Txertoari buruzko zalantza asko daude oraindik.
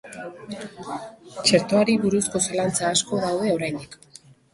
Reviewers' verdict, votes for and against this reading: accepted, 3, 0